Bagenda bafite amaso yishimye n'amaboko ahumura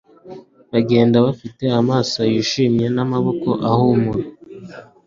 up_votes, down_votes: 2, 0